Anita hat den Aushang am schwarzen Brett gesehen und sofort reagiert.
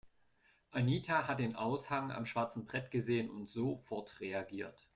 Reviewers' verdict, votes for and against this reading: accepted, 2, 0